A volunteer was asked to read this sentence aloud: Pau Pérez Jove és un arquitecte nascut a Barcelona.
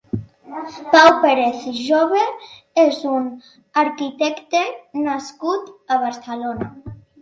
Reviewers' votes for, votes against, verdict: 2, 0, accepted